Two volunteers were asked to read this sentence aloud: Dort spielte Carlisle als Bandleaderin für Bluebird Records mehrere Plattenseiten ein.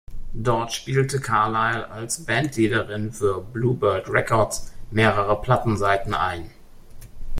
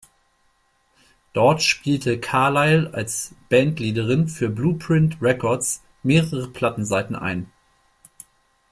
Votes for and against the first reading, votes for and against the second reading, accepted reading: 2, 0, 0, 2, first